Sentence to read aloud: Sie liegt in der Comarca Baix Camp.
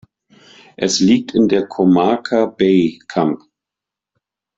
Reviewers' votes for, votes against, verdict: 0, 2, rejected